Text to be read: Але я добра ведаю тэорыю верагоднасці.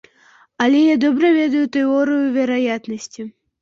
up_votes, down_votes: 0, 2